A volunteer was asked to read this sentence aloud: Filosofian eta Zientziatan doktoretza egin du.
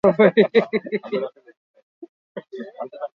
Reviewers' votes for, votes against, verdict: 4, 2, accepted